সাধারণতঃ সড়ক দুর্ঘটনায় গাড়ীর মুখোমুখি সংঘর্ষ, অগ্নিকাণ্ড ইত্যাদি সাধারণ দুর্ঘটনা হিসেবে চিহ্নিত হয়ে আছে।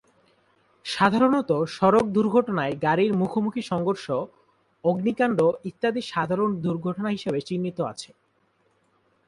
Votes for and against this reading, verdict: 0, 2, rejected